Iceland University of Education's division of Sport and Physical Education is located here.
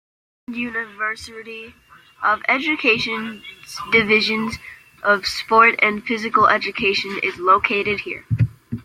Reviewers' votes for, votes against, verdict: 0, 2, rejected